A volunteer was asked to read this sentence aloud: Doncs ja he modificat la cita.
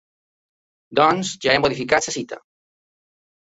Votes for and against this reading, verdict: 2, 0, accepted